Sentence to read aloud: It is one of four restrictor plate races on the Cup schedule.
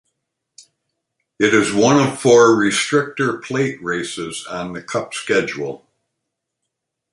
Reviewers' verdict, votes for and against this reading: accepted, 2, 0